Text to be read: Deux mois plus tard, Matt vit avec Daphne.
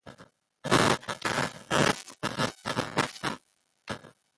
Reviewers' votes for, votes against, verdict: 0, 2, rejected